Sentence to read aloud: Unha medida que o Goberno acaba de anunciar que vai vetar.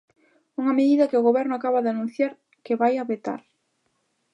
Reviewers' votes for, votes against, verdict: 1, 2, rejected